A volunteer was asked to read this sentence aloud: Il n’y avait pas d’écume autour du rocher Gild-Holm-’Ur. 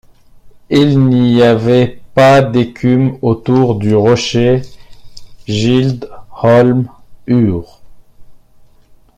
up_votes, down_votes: 0, 2